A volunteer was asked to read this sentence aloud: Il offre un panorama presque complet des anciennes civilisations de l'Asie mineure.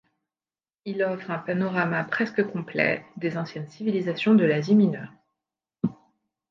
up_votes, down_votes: 2, 0